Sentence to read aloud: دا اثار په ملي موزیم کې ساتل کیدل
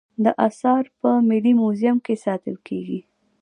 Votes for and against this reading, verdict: 2, 0, accepted